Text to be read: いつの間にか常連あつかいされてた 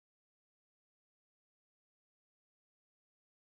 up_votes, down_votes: 0, 2